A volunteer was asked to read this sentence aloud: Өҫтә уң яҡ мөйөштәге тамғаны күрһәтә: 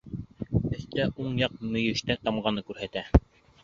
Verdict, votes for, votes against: rejected, 0, 2